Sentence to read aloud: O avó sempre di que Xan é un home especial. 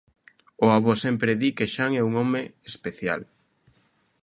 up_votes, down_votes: 2, 0